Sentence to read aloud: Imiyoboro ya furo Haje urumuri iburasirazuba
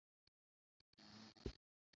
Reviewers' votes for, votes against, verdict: 0, 2, rejected